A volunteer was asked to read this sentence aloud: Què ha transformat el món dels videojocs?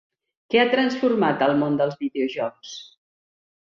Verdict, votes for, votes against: rejected, 1, 2